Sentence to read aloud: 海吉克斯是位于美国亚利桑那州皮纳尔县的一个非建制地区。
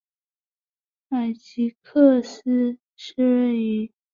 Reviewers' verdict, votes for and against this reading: rejected, 1, 3